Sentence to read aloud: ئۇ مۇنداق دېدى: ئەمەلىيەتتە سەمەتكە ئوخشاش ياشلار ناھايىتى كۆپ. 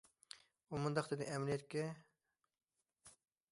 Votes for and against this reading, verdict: 0, 2, rejected